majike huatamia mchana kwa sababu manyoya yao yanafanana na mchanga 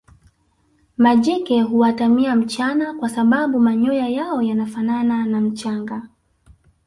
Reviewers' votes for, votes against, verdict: 0, 2, rejected